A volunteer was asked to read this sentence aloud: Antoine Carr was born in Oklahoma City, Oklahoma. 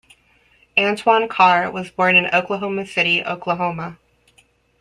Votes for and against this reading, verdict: 2, 0, accepted